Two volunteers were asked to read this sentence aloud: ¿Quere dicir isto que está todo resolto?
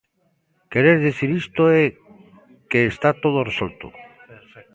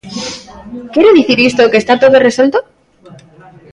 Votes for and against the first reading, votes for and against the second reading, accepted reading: 0, 2, 2, 1, second